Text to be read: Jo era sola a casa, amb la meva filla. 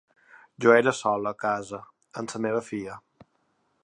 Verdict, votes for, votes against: accepted, 2, 0